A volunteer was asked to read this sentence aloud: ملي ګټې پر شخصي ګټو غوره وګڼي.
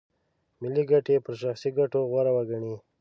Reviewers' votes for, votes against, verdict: 3, 0, accepted